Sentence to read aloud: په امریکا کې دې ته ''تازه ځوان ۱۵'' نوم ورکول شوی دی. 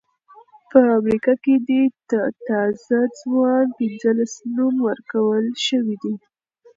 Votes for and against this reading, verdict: 0, 2, rejected